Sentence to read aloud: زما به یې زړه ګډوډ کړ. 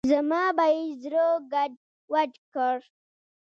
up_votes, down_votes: 1, 2